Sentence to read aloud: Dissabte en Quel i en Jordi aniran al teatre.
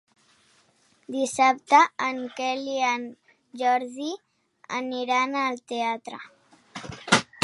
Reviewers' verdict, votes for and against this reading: accepted, 4, 0